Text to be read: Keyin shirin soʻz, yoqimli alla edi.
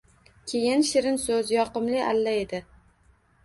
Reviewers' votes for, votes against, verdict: 2, 0, accepted